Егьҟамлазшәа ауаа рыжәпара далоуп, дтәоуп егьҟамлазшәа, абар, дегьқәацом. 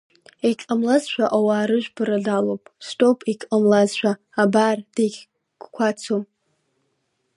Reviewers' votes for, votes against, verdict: 0, 2, rejected